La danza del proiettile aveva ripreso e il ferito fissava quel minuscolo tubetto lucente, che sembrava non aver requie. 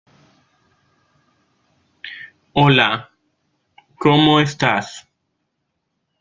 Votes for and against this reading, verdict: 0, 2, rejected